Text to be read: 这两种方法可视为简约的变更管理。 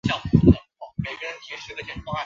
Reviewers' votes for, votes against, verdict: 2, 3, rejected